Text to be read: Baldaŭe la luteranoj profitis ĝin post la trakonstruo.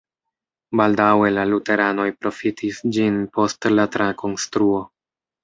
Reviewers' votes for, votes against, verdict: 2, 0, accepted